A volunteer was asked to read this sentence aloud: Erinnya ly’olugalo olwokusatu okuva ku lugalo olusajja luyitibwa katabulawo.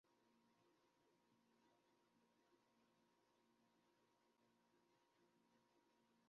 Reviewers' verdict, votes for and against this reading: rejected, 0, 2